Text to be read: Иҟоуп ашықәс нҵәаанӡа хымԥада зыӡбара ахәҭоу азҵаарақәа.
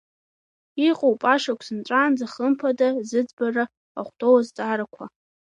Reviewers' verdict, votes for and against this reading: accepted, 2, 1